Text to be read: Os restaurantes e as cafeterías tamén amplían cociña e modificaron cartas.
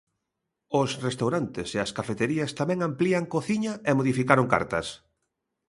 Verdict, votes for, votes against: accepted, 2, 0